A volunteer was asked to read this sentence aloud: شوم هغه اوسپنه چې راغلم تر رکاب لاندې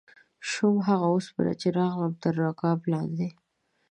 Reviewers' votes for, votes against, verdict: 2, 0, accepted